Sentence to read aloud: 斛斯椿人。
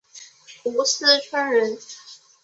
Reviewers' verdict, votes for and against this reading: accepted, 3, 0